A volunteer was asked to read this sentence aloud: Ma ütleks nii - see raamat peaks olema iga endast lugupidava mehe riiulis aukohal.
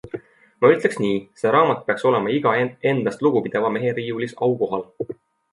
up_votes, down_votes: 2, 0